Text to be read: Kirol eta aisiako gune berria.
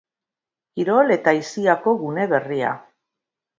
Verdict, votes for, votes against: accepted, 2, 0